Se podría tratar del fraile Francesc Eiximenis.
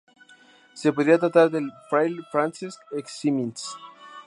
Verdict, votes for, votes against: rejected, 2, 2